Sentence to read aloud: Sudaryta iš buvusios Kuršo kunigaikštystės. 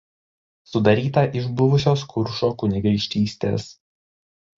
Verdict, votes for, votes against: accepted, 2, 0